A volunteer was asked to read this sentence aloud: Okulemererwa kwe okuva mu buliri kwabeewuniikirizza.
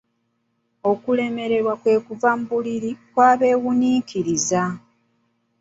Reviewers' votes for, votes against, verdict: 0, 2, rejected